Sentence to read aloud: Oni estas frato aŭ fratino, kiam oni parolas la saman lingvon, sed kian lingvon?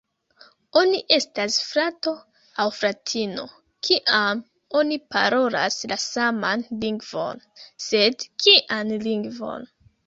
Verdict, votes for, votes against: rejected, 1, 2